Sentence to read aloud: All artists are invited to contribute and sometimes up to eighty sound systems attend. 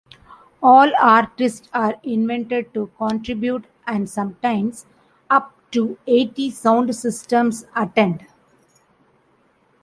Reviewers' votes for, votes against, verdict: 2, 0, accepted